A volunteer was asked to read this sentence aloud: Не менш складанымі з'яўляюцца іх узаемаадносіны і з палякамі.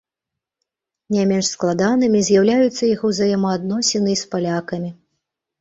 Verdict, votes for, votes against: accepted, 2, 0